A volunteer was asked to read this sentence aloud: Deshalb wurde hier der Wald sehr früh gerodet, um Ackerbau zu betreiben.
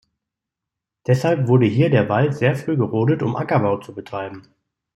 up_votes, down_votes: 2, 0